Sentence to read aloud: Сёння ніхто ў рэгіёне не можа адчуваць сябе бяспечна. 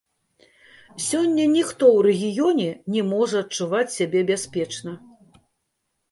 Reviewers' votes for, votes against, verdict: 0, 2, rejected